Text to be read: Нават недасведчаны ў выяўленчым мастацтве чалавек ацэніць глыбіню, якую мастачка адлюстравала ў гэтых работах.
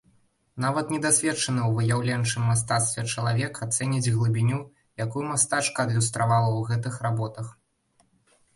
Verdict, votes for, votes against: accepted, 2, 0